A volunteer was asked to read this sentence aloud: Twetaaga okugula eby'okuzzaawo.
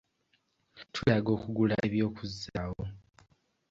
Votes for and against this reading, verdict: 0, 2, rejected